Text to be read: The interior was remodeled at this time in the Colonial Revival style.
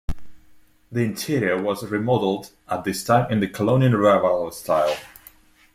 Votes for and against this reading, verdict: 0, 2, rejected